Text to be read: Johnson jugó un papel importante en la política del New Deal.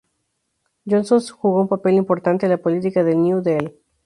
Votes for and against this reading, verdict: 0, 4, rejected